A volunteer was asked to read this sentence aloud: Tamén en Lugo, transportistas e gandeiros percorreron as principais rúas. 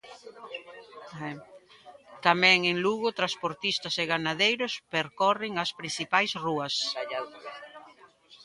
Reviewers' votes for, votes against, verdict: 0, 2, rejected